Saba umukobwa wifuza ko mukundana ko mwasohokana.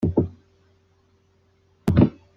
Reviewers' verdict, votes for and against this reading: rejected, 0, 2